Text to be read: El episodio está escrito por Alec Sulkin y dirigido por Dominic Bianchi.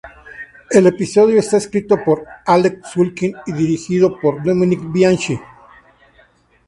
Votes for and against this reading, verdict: 0, 2, rejected